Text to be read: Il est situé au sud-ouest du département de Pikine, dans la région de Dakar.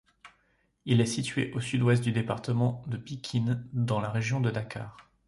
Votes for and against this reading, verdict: 2, 0, accepted